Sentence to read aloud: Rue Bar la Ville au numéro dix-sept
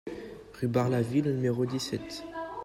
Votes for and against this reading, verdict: 1, 2, rejected